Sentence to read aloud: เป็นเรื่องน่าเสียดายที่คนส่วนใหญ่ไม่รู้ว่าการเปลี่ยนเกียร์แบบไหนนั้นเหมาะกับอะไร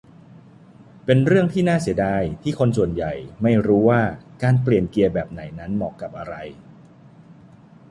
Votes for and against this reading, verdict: 0, 2, rejected